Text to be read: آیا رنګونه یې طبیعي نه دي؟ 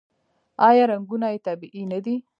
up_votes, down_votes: 2, 1